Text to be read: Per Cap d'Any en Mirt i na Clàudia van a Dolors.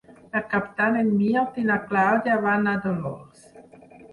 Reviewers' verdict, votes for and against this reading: rejected, 2, 4